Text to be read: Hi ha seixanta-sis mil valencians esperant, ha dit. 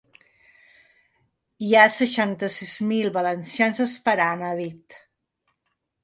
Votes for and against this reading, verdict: 3, 0, accepted